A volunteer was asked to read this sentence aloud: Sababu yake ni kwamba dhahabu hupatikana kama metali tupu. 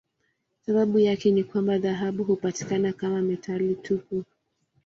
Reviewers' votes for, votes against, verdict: 2, 0, accepted